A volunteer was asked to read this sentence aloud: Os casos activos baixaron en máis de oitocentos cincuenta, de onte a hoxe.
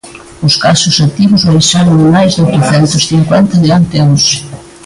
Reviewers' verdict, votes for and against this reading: rejected, 0, 2